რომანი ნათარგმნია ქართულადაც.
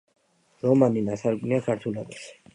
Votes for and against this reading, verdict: 2, 0, accepted